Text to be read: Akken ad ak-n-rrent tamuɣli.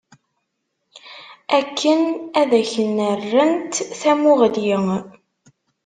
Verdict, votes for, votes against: rejected, 1, 2